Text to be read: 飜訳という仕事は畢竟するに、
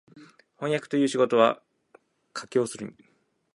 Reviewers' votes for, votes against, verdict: 3, 0, accepted